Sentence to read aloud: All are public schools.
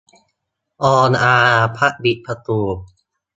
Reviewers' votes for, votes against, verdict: 0, 4, rejected